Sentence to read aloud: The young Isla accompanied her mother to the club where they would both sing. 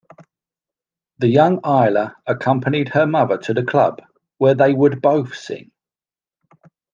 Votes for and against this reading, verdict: 2, 1, accepted